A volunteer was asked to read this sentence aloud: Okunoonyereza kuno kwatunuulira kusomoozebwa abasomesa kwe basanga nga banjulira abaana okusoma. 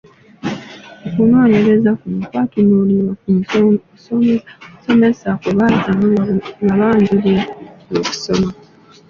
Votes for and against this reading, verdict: 0, 2, rejected